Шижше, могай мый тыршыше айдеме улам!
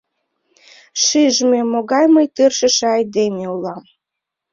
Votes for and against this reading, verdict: 0, 2, rejected